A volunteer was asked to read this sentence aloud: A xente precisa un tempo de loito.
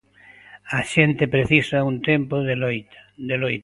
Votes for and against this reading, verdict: 0, 2, rejected